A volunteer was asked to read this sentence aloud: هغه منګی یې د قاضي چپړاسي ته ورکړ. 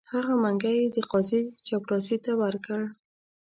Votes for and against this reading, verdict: 2, 0, accepted